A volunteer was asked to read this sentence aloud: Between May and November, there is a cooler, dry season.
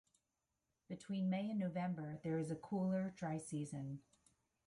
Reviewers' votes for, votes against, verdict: 1, 2, rejected